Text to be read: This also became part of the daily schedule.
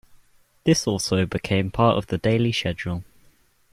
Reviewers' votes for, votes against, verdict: 2, 0, accepted